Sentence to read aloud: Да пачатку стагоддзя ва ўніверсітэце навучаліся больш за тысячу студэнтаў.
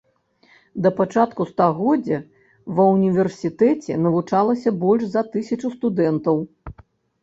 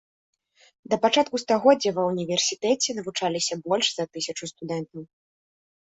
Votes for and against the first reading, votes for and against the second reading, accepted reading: 0, 2, 2, 1, second